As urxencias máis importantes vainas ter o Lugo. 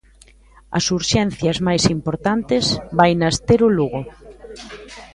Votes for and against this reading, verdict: 2, 0, accepted